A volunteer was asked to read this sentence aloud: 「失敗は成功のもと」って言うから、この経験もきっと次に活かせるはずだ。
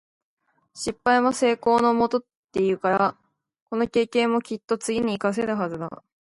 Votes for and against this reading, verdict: 2, 0, accepted